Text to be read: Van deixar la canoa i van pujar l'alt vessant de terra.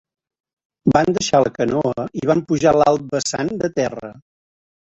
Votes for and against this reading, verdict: 0, 2, rejected